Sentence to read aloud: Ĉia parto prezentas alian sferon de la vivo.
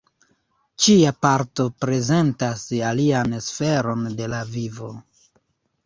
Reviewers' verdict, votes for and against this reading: rejected, 0, 2